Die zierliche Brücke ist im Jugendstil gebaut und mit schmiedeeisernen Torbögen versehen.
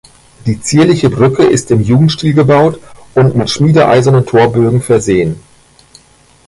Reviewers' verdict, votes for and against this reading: rejected, 1, 2